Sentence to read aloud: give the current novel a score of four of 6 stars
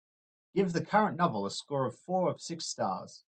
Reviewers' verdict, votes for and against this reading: rejected, 0, 2